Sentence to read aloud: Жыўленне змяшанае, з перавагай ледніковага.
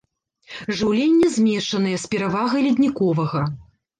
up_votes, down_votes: 0, 2